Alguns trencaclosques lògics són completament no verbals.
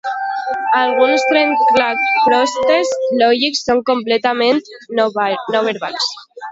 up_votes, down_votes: 0, 2